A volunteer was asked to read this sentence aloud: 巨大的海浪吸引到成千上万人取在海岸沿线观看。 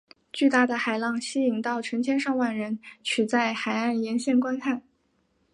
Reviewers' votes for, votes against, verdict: 2, 1, accepted